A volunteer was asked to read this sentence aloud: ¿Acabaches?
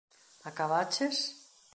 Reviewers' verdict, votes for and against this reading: accepted, 2, 0